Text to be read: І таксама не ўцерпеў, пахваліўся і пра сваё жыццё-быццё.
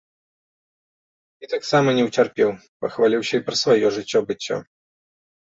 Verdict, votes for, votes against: accepted, 3, 1